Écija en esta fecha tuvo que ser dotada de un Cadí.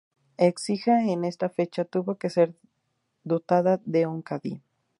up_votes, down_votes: 2, 0